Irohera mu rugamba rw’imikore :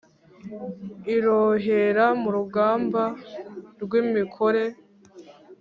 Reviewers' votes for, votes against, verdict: 2, 0, accepted